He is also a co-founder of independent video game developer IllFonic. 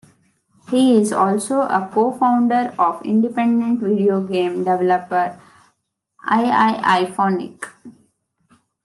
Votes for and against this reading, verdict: 1, 2, rejected